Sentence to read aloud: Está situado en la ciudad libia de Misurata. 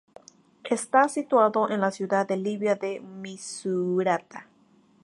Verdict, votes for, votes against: accepted, 2, 0